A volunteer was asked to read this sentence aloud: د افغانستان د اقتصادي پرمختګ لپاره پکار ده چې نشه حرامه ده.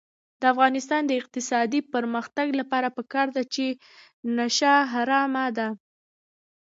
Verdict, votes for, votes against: rejected, 0, 2